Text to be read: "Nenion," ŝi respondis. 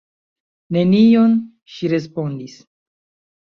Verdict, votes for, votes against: accepted, 2, 0